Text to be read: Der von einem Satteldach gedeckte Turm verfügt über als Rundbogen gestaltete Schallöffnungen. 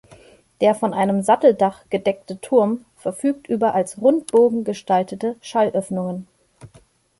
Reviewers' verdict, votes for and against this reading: accepted, 2, 0